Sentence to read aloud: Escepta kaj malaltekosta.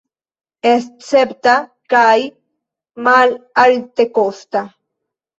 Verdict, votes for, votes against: rejected, 0, 2